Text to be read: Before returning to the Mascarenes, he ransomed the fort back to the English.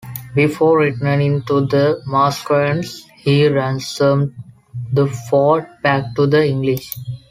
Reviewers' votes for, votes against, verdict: 2, 0, accepted